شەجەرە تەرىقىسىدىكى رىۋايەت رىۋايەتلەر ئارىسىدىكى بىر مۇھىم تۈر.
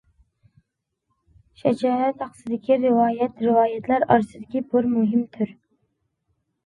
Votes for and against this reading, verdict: 0, 2, rejected